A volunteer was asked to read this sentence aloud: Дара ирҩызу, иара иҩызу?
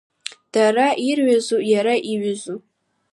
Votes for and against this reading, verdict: 2, 1, accepted